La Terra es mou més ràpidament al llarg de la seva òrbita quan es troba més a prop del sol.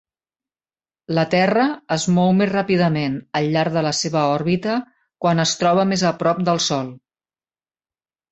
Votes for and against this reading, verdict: 3, 0, accepted